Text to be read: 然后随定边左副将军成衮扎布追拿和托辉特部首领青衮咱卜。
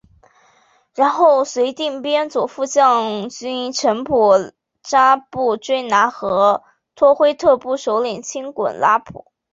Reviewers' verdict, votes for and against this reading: rejected, 1, 2